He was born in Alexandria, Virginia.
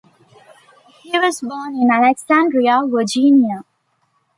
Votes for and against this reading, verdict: 2, 0, accepted